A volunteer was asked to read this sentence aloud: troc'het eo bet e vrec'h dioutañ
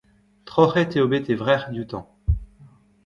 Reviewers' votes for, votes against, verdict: 1, 2, rejected